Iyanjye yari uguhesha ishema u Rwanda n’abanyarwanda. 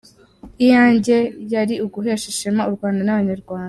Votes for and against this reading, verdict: 2, 0, accepted